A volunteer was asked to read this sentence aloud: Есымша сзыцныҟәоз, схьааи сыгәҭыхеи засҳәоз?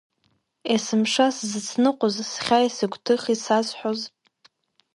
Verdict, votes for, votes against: accepted, 2, 1